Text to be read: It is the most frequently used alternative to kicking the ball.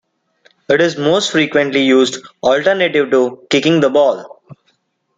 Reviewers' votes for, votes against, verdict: 0, 2, rejected